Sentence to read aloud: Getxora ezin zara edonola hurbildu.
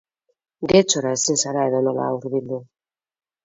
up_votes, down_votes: 2, 2